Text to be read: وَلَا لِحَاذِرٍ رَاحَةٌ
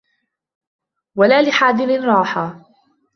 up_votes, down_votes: 1, 2